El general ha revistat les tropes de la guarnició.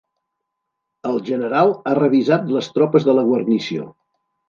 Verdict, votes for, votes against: rejected, 1, 2